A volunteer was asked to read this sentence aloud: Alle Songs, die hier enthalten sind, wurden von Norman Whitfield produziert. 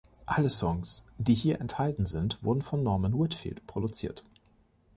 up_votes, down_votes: 2, 0